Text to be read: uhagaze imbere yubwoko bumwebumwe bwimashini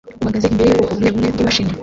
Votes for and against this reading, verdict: 0, 2, rejected